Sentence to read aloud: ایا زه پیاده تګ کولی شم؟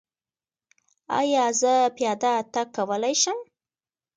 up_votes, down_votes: 2, 0